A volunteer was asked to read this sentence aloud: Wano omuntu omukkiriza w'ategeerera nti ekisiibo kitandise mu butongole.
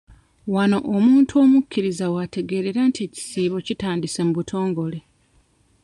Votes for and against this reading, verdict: 2, 0, accepted